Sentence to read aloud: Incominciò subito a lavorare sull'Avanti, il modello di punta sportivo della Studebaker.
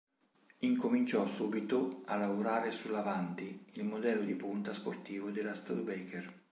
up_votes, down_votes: 3, 0